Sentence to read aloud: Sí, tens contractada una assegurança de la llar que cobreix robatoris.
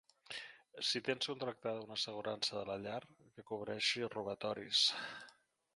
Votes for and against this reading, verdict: 0, 2, rejected